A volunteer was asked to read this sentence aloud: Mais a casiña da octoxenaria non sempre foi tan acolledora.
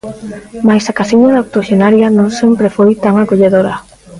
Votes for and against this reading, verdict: 2, 0, accepted